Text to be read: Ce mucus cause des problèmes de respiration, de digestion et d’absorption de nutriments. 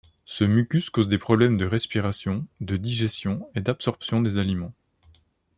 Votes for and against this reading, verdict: 1, 2, rejected